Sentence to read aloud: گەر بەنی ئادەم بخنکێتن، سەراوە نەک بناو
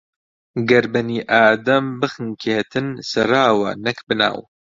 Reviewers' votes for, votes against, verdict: 2, 0, accepted